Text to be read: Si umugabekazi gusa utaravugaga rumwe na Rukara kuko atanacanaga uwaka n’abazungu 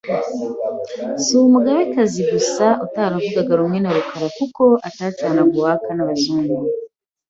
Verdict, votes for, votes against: rejected, 0, 2